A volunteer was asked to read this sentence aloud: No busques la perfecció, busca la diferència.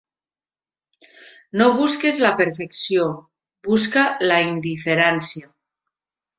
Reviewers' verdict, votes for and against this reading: rejected, 1, 2